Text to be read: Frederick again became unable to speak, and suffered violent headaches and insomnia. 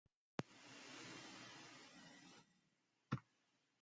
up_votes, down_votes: 0, 2